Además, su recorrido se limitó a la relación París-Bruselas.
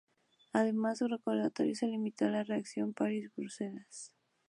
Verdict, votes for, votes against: rejected, 0, 2